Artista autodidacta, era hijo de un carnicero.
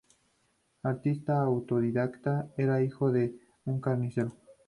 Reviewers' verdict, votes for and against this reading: accepted, 2, 0